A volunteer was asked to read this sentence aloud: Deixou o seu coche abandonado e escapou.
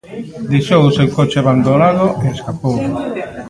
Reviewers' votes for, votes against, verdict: 1, 2, rejected